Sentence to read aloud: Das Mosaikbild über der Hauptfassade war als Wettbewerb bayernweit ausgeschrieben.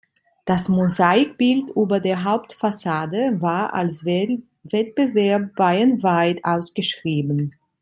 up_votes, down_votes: 1, 2